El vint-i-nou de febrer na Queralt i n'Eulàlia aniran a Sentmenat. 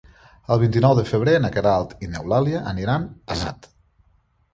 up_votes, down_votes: 0, 2